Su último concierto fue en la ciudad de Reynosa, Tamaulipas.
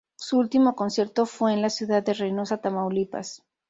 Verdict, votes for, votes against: accepted, 2, 0